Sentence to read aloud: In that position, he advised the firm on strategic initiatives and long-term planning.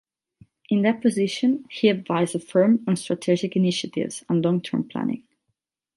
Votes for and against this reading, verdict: 8, 0, accepted